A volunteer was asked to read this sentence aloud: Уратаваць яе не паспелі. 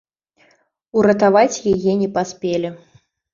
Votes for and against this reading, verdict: 2, 0, accepted